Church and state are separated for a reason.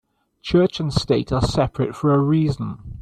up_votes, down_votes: 1, 2